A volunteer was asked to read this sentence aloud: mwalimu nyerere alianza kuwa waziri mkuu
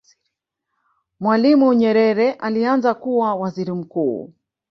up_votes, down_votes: 1, 2